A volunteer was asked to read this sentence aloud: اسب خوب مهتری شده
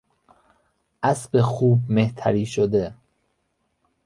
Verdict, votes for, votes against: rejected, 1, 2